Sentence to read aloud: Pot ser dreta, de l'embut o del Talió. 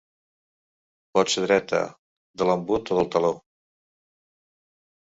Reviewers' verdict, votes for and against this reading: rejected, 0, 2